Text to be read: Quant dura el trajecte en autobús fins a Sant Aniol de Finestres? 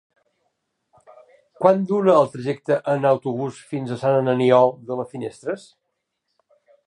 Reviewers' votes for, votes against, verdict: 0, 2, rejected